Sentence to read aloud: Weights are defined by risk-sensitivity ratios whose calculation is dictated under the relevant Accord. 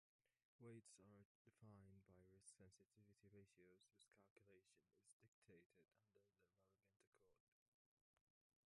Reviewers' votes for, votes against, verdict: 0, 2, rejected